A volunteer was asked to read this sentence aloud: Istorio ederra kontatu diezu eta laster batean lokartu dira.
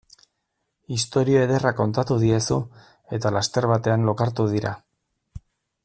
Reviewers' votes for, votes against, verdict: 2, 0, accepted